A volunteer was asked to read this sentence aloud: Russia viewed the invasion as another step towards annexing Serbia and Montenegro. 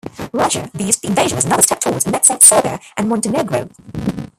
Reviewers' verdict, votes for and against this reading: rejected, 1, 2